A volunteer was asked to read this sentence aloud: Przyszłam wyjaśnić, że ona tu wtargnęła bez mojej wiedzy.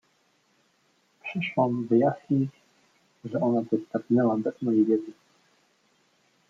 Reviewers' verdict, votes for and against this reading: rejected, 0, 3